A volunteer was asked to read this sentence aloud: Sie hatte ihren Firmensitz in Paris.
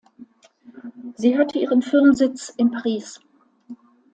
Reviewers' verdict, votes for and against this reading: rejected, 0, 2